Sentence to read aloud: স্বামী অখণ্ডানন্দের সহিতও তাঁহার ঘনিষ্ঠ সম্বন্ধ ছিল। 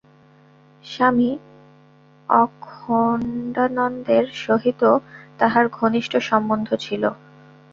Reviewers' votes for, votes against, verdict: 0, 2, rejected